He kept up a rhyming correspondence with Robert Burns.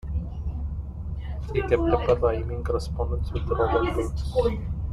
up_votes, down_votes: 2, 1